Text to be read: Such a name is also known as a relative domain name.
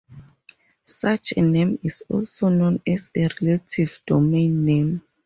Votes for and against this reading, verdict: 4, 0, accepted